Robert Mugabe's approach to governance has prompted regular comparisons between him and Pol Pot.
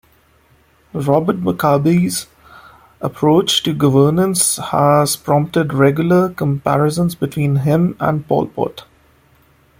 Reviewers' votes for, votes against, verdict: 2, 0, accepted